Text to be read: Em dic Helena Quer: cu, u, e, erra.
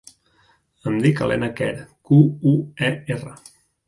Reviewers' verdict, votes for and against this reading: accepted, 2, 0